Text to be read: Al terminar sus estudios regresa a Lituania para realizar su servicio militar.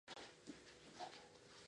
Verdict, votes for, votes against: rejected, 0, 2